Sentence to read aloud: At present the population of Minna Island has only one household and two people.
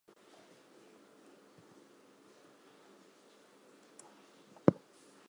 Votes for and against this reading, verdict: 0, 2, rejected